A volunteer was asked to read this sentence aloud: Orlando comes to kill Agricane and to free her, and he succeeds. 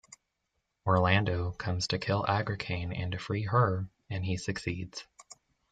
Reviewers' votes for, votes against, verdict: 2, 0, accepted